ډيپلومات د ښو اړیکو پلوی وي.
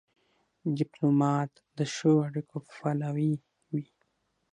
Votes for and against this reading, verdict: 6, 0, accepted